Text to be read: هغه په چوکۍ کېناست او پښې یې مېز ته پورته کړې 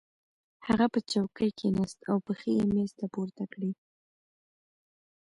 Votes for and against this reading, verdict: 0, 2, rejected